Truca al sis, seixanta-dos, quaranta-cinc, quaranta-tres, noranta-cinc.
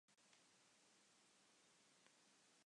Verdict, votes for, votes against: rejected, 1, 2